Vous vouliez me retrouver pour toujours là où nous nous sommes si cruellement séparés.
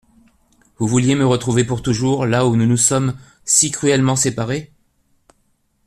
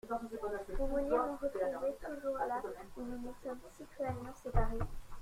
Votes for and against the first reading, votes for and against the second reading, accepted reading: 2, 0, 1, 2, first